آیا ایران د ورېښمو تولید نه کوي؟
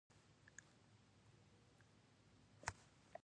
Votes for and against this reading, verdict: 1, 2, rejected